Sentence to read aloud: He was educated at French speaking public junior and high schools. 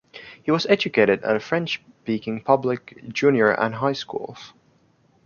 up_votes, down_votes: 1, 2